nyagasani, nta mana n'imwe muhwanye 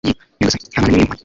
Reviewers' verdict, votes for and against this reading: rejected, 1, 2